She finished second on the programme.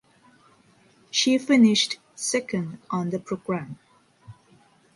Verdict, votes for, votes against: accepted, 2, 0